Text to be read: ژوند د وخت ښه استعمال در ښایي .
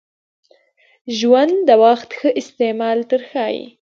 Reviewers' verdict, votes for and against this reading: rejected, 1, 2